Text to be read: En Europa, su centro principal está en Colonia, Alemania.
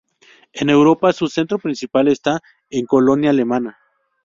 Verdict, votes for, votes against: rejected, 0, 2